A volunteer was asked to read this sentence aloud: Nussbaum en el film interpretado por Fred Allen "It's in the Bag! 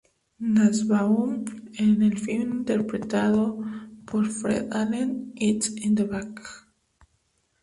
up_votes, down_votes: 2, 0